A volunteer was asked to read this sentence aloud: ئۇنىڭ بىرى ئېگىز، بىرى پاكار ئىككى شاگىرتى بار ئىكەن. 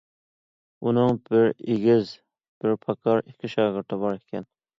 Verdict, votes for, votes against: accepted, 2, 0